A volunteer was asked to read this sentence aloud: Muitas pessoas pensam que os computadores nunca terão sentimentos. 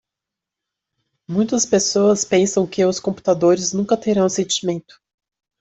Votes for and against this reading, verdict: 0, 2, rejected